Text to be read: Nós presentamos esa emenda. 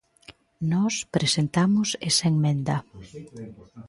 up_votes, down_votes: 0, 2